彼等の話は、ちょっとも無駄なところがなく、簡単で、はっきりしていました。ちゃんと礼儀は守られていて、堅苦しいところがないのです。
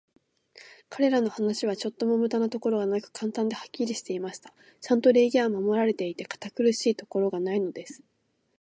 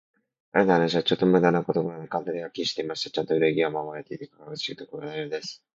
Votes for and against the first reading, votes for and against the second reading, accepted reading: 2, 0, 1, 2, first